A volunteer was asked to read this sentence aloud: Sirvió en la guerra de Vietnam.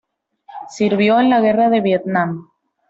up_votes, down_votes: 2, 0